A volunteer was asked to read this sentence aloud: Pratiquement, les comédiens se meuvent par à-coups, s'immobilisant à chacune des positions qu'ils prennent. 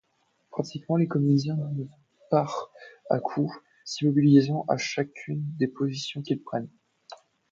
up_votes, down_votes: 0, 2